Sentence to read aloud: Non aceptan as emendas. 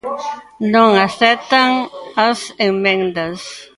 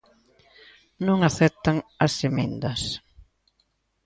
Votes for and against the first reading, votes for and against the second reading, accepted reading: 0, 2, 2, 0, second